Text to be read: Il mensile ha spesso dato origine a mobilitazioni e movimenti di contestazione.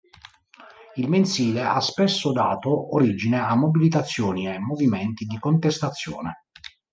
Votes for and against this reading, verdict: 3, 0, accepted